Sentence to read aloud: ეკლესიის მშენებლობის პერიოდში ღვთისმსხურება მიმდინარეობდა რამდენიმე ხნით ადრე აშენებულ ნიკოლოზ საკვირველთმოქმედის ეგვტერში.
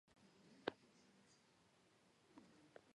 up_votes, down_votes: 1, 2